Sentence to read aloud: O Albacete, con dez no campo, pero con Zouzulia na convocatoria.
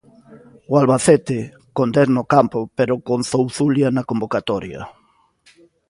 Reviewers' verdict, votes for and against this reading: accepted, 2, 0